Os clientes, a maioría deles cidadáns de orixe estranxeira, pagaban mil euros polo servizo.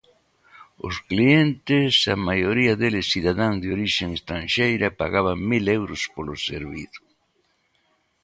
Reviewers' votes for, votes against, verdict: 2, 1, accepted